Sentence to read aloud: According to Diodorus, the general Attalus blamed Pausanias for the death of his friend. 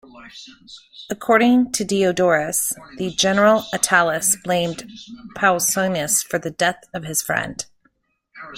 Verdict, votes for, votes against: rejected, 1, 2